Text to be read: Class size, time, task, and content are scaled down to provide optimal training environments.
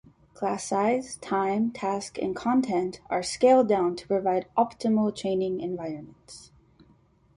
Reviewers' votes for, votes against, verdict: 2, 0, accepted